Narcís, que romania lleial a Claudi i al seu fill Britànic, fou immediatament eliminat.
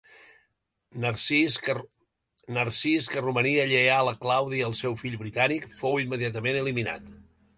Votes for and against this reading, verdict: 1, 2, rejected